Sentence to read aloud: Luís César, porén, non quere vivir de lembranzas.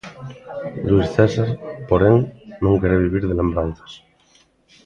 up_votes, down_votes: 2, 0